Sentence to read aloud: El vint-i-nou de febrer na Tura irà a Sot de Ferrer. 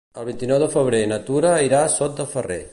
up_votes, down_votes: 2, 0